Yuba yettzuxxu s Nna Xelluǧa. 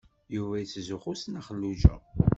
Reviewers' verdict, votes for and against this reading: accepted, 2, 0